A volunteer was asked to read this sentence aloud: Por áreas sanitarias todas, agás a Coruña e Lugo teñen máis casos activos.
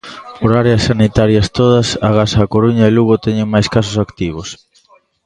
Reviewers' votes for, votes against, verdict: 2, 0, accepted